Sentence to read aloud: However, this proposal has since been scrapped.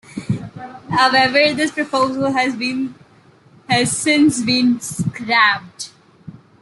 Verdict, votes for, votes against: rejected, 1, 2